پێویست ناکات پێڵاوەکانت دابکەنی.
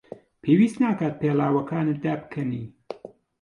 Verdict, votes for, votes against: accepted, 2, 0